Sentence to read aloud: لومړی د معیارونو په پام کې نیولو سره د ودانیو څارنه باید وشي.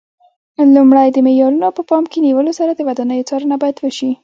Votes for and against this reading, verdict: 2, 0, accepted